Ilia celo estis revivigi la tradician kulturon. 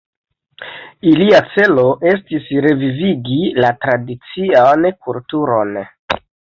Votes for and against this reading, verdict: 1, 2, rejected